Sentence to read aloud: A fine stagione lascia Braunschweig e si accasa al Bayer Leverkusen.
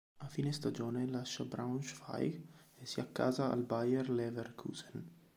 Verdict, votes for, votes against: accepted, 3, 1